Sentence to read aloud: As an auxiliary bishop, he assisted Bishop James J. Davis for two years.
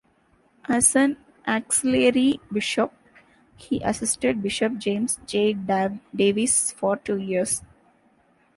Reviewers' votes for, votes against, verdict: 0, 2, rejected